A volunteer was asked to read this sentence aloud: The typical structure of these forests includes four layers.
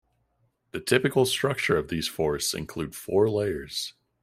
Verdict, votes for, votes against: accepted, 2, 1